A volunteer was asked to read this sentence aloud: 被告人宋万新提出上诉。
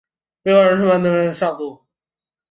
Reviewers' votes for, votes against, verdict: 0, 4, rejected